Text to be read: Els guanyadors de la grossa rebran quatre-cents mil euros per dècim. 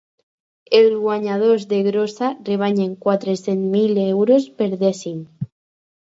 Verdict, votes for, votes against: rejected, 0, 2